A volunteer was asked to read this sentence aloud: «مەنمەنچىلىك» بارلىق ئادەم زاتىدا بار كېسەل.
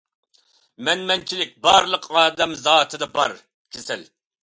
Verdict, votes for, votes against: accepted, 2, 0